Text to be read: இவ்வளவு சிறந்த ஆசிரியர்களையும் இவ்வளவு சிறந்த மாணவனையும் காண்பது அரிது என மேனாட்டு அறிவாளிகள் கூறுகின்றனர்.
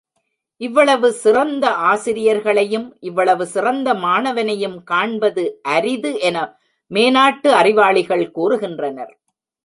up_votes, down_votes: 1, 2